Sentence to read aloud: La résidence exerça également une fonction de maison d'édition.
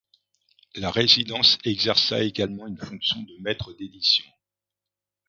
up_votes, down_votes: 1, 2